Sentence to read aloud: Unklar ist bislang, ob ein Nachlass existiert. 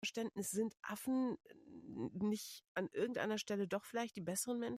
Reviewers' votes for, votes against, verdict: 0, 2, rejected